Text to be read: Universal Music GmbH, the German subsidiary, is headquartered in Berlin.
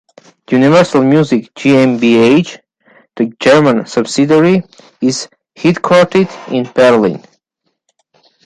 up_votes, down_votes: 0, 2